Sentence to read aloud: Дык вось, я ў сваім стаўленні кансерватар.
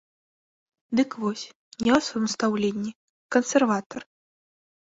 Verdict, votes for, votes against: rejected, 1, 2